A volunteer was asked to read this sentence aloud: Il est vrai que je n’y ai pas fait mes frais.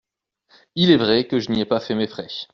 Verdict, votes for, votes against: accepted, 2, 0